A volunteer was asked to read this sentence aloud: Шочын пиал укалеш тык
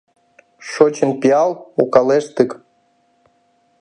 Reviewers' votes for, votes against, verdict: 2, 0, accepted